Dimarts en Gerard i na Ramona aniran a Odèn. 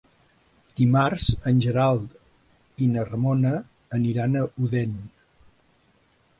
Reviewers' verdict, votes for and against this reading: rejected, 0, 2